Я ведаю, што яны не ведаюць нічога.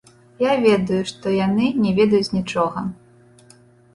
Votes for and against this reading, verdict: 2, 0, accepted